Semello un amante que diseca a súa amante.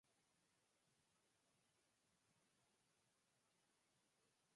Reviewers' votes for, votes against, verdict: 2, 4, rejected